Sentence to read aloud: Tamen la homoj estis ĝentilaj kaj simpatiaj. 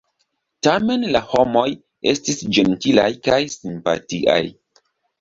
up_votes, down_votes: 2, 0